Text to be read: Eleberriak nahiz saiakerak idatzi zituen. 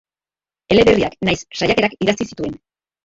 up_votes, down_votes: 1, 2